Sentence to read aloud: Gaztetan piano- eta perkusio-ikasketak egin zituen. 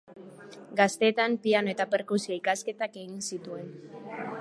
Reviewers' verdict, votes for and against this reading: accepted, 2, 0